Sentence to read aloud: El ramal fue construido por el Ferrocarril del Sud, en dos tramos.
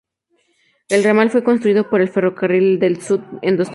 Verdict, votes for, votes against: rejected, 0, 2